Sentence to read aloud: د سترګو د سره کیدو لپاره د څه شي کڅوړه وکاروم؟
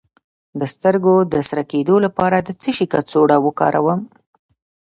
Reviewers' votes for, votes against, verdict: 2, 0, accepted